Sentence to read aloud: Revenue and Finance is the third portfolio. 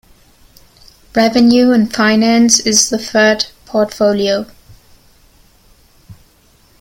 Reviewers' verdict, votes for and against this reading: accepted, 2, 0